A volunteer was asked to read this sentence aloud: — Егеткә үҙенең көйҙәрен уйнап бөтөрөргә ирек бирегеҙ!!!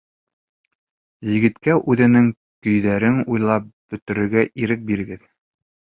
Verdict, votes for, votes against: rejected, 1, 2